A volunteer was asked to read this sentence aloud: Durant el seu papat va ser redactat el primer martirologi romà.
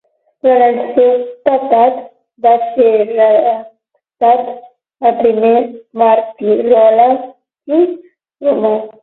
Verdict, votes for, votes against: rejected, 0, 12